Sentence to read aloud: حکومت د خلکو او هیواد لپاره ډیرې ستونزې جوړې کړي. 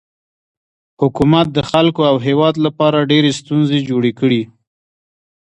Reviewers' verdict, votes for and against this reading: accepted, 2, 0